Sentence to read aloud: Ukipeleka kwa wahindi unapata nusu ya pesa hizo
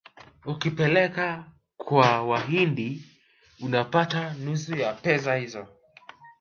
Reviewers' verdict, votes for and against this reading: rejected, 0, 2